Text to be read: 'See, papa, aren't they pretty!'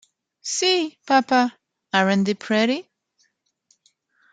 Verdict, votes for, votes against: rejected, 0, 3